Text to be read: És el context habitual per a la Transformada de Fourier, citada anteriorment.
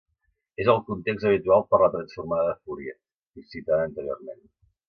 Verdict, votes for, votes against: accepted, 2, 1